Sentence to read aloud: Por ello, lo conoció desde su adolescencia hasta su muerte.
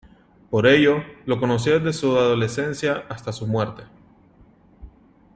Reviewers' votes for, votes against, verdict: 0, 2, rejected